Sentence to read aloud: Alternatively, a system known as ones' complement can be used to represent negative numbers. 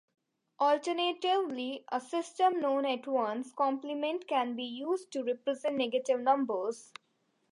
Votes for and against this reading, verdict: 0, 2, rejected